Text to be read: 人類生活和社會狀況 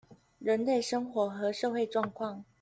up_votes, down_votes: 2, 0